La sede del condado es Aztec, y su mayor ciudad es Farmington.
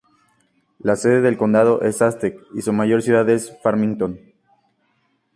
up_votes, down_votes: 2, 0